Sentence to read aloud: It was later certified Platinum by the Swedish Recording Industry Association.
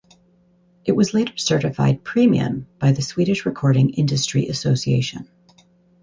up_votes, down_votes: 2, 4